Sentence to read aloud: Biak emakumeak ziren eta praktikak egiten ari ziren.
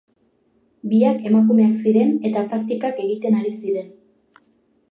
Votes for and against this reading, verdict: 2, 0, accepted